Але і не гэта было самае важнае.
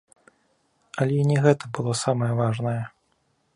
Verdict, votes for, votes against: accepted, 2, 0